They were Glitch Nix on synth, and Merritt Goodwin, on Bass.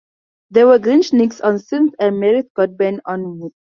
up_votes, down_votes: 0, 4